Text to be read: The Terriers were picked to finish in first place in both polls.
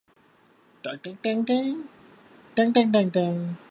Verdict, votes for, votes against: rejected, 1, 2